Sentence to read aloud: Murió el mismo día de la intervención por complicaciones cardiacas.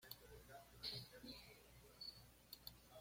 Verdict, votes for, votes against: rejected, 1, 2